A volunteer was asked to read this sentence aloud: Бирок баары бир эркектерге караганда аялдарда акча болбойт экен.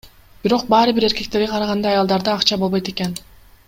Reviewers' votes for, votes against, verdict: 2, 0, accepted